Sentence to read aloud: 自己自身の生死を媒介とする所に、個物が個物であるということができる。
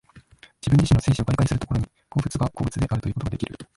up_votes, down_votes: 0, 2